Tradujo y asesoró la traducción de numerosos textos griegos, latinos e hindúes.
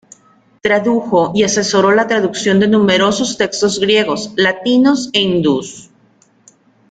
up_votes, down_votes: 2, 1